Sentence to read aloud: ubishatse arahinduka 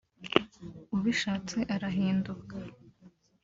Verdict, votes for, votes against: accepted, 2, 0